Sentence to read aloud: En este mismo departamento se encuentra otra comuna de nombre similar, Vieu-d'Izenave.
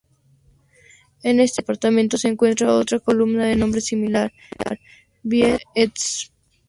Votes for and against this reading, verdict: 0, 2, rejected